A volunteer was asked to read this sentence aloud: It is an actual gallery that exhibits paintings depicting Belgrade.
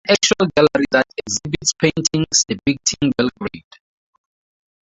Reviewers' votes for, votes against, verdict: 2, 2, rejected